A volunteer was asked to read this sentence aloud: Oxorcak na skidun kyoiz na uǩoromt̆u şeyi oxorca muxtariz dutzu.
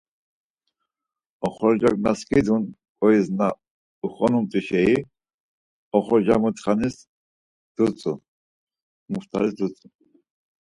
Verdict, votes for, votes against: rejected, 0, 4